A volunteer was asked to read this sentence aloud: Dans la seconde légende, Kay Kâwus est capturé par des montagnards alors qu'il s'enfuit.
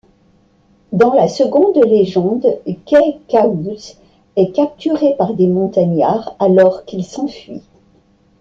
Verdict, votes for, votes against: accepted, 2, 0